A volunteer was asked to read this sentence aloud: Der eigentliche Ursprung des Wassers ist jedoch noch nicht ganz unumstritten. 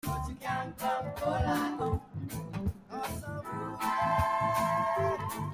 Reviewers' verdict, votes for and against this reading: rejected, 0, 2